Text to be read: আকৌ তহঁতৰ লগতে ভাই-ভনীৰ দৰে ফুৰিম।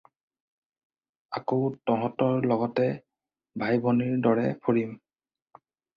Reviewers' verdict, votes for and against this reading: accepted, 4, 0